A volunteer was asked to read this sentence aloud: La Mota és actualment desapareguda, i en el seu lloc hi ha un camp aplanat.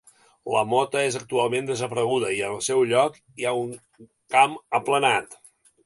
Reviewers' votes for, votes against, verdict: 2, 0, accepted